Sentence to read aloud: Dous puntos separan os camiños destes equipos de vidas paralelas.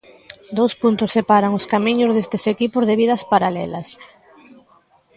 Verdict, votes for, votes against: accepted, 2, 0